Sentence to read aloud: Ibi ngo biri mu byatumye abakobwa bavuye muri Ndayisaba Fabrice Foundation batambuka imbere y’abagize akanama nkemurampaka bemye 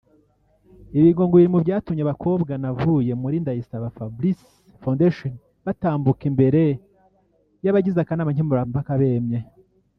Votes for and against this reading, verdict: 0, 2, rejected